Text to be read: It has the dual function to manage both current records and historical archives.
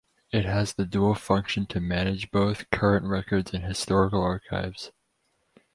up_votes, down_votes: 2, 0